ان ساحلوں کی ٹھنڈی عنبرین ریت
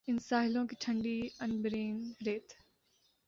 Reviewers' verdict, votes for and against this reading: accepted, 3, 0